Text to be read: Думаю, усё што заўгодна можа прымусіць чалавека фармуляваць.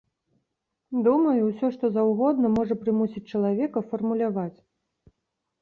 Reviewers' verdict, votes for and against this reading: accepted, 3, 0